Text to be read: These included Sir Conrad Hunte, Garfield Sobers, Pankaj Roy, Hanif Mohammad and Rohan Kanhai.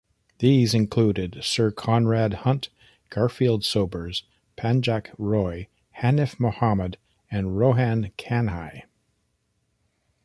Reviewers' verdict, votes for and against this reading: rejected, 1, 2